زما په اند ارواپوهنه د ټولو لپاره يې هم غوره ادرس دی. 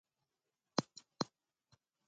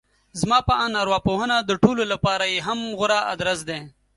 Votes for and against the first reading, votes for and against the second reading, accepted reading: 0, 3, 2, 0, second